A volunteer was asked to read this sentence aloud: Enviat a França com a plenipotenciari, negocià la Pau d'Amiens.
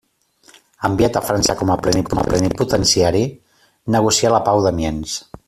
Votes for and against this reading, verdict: 0, 2, rejected